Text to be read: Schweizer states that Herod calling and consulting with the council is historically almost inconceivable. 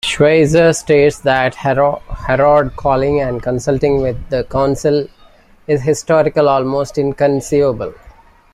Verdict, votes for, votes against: accepted, 2, 1